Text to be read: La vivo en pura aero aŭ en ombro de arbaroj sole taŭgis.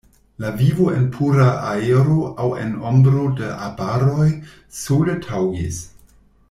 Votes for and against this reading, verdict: 2, 0, accepted